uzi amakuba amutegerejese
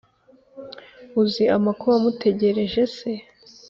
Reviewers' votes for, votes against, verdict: 3, 0, accepted